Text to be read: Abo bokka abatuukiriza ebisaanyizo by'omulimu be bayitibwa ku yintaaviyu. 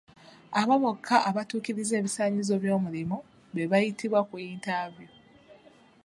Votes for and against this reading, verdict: 2, 0, accepted